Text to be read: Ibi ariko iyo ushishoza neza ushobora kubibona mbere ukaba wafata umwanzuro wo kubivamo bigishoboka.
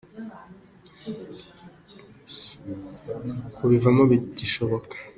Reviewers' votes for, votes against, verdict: 0, 3, rejected